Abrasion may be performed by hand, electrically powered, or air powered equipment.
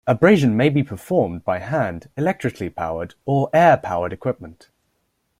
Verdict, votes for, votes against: accepted, 2, 0